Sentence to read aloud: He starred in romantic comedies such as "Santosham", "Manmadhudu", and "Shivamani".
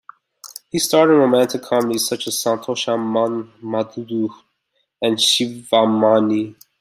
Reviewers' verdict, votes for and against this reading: accepted, 2, 1